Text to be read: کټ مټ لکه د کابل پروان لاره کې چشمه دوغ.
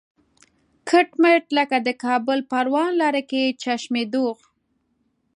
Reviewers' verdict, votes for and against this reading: accepted, 2, 0